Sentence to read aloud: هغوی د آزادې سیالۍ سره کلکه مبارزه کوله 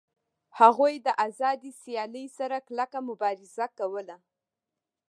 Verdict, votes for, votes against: rejected, 0, 2